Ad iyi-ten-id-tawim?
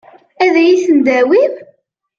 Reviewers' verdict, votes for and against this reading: rejected, 1, 2